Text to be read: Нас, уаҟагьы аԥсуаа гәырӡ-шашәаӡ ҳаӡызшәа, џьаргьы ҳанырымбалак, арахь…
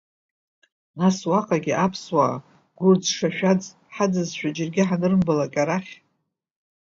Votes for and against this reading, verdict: 2, 0, accepted